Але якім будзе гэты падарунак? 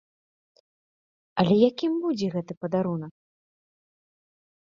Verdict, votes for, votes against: accepted, 2, 0